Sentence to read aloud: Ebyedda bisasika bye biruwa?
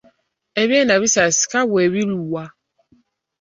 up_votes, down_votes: 0, 2